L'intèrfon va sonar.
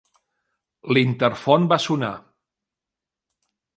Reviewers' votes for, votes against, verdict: 0, 2, rejected